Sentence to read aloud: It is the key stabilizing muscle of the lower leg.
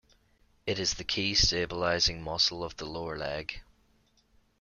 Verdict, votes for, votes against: accepted, 2, 0